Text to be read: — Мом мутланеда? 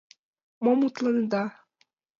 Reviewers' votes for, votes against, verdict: 2, 0, accepted